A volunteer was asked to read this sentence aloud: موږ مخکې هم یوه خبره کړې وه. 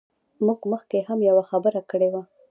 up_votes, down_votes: 2, 0